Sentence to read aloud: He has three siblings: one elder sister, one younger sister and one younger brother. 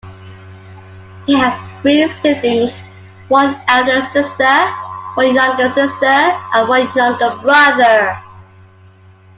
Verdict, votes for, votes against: accepted, 2, 1